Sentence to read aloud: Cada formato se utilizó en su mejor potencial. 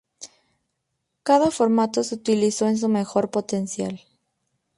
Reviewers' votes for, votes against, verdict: 0, 2, rejected